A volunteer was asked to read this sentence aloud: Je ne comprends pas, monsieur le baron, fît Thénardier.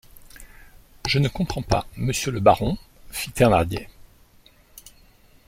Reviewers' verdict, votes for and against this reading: rejected, 1, 2